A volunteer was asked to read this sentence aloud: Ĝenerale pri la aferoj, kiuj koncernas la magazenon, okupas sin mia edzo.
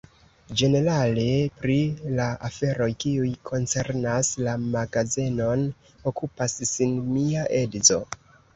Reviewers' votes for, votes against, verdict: 2, 0, accepted